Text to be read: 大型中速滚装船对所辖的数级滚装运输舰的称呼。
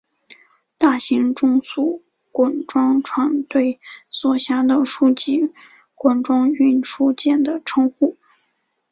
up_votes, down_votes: 4, 0